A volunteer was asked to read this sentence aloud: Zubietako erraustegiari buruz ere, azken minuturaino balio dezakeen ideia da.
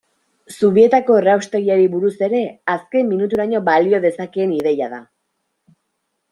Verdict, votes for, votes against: accepted, 2, 0